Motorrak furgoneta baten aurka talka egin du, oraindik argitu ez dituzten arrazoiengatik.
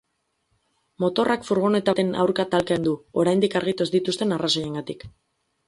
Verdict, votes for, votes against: rejected, 2, 2